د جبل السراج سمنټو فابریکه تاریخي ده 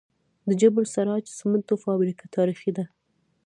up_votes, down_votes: 1, 2